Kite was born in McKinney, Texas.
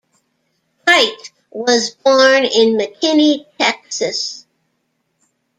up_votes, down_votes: 1, 2